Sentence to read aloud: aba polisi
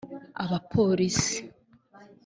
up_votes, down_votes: 0, 2